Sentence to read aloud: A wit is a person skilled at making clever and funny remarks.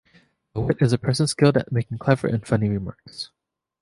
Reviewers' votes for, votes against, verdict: 3, 0, accepted